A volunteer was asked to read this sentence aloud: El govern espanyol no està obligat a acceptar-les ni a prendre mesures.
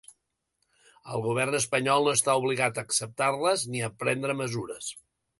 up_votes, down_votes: 2, 0